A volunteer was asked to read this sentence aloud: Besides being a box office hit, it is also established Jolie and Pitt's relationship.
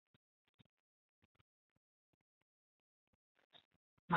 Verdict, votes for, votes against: rejected, 0, 3